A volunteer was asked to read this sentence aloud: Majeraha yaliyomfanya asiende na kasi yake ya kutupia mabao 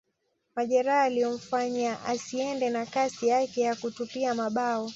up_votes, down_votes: 2, 0